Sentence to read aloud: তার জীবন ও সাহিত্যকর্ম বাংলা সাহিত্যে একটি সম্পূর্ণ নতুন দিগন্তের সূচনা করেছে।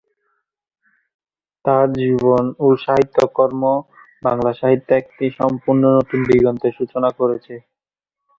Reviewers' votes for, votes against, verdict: 2, 0, accepted